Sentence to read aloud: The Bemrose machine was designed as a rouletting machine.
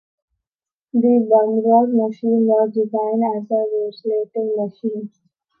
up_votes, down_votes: 0, 2